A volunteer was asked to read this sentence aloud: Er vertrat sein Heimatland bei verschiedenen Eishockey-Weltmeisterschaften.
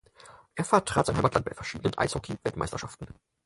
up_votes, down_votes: 2, 6